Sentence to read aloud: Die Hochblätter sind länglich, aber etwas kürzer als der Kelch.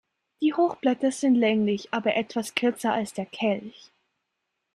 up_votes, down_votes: 2, 0